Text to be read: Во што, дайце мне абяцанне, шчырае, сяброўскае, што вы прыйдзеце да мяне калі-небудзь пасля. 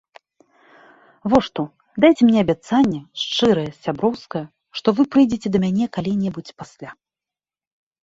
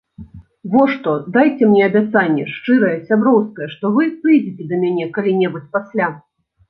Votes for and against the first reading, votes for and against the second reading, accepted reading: 2, 0, 1, 2, first